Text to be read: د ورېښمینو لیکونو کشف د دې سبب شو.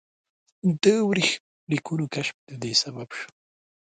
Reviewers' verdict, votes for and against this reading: rejected, 1, 2